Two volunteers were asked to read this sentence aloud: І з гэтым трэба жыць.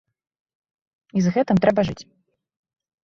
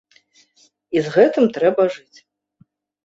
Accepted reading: first